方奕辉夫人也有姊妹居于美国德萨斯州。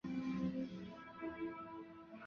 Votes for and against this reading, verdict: 0, 2, rejected